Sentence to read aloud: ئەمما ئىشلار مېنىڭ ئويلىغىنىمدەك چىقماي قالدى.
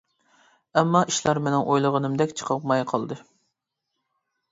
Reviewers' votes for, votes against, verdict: 0, 2, rejected